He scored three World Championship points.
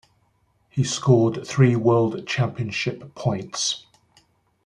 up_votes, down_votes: 2, 0